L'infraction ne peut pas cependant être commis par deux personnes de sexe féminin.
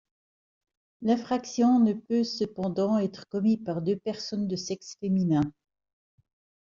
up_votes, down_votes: 0, 2